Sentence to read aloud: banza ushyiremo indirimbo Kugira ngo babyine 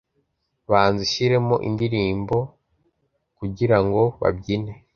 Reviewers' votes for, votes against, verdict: 2, 0, accepted